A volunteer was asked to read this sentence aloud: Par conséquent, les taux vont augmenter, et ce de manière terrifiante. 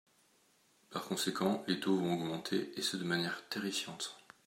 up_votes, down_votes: 2, 0